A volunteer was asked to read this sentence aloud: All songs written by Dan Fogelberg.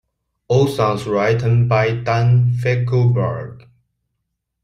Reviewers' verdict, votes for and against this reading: rejected, 1, 2